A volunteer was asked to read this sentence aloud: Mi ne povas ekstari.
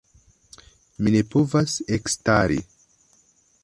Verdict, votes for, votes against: accepted, 3, 0